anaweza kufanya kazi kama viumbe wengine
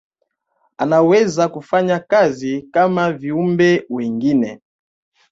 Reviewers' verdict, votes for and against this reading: accepted, 2, 0